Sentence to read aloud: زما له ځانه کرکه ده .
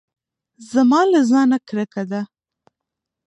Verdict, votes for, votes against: rejected, 1, 2